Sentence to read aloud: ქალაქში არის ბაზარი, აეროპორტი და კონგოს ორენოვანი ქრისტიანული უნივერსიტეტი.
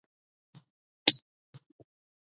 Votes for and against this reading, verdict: 0, 2, rejected